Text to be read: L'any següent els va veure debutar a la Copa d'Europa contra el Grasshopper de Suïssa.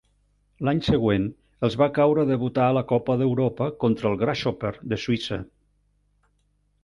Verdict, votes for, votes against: rejected, 0, 2